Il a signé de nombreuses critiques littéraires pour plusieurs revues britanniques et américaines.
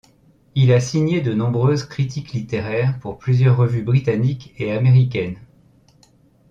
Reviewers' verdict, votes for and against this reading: accepted, 2, 0